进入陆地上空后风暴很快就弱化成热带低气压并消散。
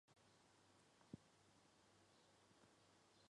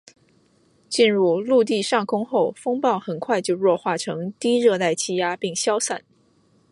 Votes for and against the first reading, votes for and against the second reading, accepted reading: 0, 3, 2, 0, second